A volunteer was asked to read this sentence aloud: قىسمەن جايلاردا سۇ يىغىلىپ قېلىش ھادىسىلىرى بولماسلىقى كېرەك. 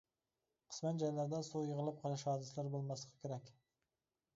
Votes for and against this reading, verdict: 0, 2, rejected